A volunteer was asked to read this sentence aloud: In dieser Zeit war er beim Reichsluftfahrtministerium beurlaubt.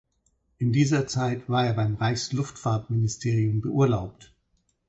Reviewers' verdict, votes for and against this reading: accepted, 4, 0